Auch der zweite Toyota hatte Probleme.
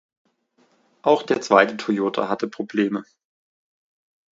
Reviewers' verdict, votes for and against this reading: accepted, 2, 0